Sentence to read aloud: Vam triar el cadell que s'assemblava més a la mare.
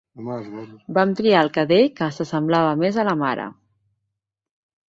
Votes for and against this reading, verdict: 0, 2, rejected